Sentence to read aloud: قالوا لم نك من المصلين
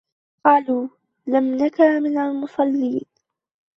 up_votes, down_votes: 1, 2